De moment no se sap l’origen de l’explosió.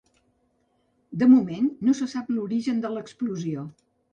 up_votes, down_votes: 3, 0